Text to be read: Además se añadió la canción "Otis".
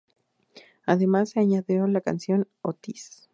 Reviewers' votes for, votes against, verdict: 2, 0, accepted